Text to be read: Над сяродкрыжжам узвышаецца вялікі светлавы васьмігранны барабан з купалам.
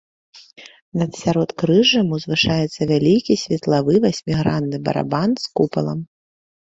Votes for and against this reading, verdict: 3, 0, accepted